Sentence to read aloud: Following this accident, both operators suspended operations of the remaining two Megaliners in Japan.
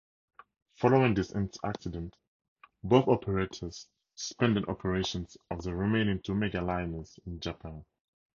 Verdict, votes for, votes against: rejected, 0, 4